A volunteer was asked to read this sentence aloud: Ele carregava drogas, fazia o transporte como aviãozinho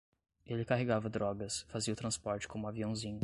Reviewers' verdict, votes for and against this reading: accepted, 2, 0